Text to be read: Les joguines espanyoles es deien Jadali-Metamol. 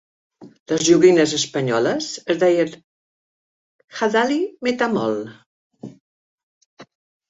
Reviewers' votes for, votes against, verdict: 3, 1, accepted